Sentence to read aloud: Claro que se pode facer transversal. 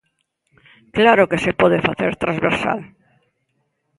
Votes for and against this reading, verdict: 2, 0, accepted